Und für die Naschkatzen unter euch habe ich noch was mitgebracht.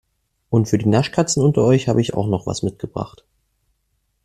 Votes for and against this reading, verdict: 2, 1, accepted